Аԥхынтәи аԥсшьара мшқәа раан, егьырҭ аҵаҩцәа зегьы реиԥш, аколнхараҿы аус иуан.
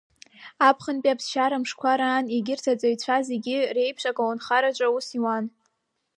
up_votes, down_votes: 2, 0